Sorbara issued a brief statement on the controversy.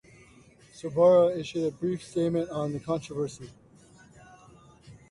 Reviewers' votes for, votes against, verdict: 2, 0, accepted